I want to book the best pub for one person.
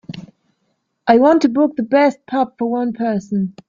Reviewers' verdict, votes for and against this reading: accepted, 2, 0